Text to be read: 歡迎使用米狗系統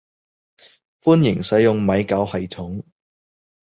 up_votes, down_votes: 2, 0